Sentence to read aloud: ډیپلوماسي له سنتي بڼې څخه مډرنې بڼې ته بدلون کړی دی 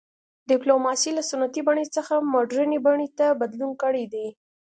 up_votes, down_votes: 2, 0